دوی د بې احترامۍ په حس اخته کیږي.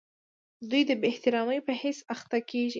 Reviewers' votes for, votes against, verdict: 2, 0, accepted